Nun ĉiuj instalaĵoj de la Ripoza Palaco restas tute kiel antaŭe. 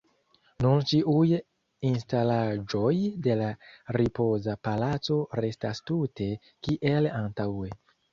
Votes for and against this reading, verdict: 0, 2, rejected